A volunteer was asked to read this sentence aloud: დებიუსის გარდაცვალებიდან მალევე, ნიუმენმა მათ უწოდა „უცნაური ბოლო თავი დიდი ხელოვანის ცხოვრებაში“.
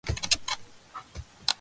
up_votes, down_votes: 0, 2